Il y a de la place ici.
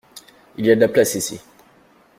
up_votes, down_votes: 2, 0